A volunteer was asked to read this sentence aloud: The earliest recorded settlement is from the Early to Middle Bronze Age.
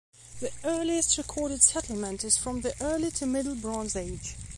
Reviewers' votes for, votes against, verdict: 2, 0, accepted